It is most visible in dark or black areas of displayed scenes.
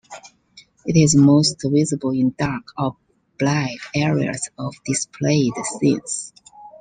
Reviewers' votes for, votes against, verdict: 2, 1, accepted